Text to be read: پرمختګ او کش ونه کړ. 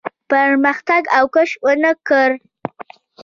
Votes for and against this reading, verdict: 2, 0, accepted